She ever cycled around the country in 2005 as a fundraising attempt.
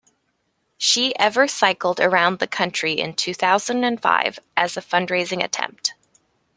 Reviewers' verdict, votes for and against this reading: rejected, 0, 2